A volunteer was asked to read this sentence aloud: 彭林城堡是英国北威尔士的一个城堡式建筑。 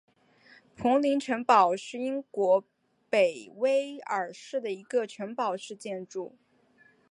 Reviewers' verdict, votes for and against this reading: accepted, 2, 1